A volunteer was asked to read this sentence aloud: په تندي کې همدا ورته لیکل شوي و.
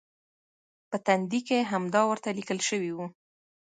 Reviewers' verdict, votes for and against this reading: accepted, 2, 0